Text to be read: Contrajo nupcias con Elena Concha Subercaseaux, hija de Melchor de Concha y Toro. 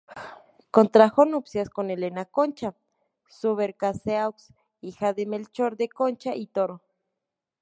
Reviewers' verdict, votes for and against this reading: accepted, 2, 0